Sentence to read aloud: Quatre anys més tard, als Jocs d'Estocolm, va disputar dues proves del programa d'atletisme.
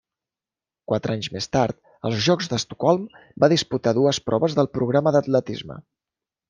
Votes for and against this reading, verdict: 2, 0, accepted